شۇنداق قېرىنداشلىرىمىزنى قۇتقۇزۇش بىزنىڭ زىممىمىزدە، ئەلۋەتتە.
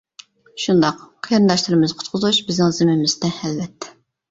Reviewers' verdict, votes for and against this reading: rejected, 1, 2